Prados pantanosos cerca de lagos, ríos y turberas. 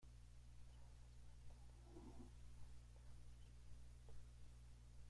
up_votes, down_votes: 0, 2